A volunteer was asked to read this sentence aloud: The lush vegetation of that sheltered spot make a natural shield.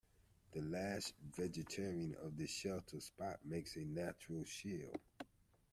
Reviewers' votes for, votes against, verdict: 0, 2, rejected